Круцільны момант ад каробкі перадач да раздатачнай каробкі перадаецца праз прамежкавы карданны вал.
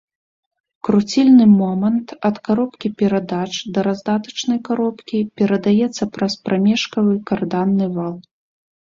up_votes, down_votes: 3, 0